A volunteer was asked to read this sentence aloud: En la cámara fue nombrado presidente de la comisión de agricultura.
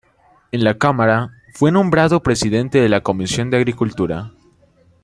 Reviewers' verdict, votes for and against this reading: rejected, 0, 2